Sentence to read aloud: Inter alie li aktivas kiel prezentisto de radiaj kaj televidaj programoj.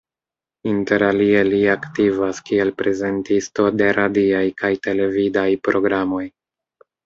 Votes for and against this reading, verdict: 0, 2, rejected